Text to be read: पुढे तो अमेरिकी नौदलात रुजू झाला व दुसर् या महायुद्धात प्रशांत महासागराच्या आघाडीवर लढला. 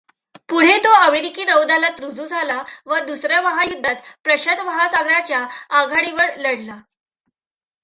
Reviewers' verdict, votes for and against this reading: accepted, 2, 0